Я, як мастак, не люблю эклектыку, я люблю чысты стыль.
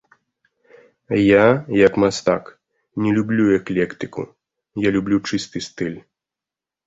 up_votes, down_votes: 2, 0